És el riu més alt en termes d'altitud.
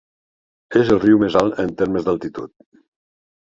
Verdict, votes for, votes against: accepted, 4, 0